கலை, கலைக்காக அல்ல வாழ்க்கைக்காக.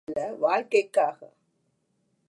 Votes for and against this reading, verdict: 0, 2, rejected